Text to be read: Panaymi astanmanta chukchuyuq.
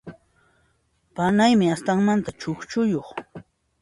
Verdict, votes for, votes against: accepted, 2, 0